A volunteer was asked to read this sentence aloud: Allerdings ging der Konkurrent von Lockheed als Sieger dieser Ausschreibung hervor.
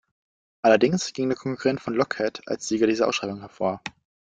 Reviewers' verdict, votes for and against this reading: rejected, 1, 2